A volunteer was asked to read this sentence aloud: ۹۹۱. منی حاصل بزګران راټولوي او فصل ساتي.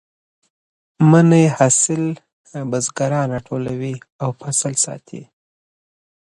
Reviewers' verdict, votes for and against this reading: rejected, 0, 2